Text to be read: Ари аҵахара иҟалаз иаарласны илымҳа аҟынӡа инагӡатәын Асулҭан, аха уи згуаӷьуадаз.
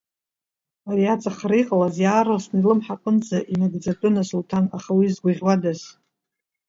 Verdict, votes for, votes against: accepted, 2, 0